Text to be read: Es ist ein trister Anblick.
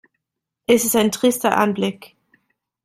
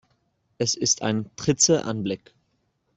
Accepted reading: first